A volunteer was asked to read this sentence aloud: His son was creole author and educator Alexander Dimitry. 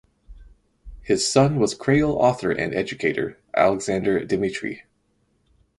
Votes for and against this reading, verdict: 2, 2, rejected